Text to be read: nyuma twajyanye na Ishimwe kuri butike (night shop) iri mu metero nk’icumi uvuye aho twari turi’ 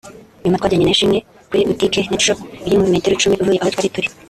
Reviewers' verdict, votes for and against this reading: rejected, 0, 3